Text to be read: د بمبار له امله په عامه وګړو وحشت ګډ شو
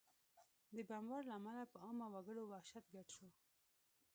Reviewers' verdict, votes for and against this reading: accepted, 2, 1